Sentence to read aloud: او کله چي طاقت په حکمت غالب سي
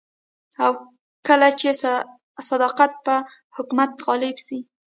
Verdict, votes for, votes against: rejected, 1, 2